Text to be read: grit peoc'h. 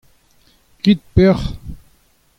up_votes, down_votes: 2, 0